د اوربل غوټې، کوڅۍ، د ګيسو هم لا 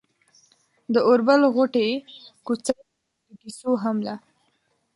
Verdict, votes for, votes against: accepted, 2, 1